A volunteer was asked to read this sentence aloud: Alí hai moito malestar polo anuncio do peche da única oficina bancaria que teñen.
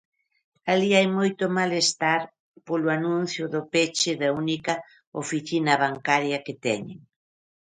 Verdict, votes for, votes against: accepted, 2, 0